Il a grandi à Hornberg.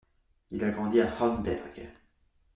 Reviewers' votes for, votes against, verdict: 0, 2, rejected